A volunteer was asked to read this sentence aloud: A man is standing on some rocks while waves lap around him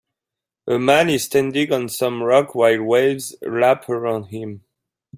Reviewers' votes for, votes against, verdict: 2, 1, accepted